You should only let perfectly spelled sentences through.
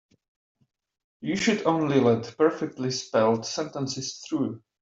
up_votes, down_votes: 2, 0